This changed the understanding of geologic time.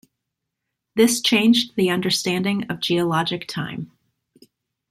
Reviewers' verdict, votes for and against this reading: accepted, 2, 0